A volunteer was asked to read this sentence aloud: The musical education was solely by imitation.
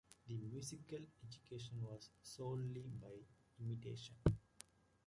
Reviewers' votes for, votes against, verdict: 2, 1, accepted